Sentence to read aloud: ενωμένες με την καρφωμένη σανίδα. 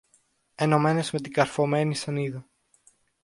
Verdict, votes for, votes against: accepted, 2, 0